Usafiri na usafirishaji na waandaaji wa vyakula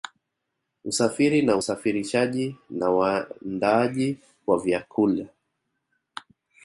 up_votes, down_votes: 0, 2